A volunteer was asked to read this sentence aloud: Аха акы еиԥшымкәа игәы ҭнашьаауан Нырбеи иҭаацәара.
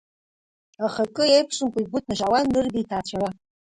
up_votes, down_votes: 1, 2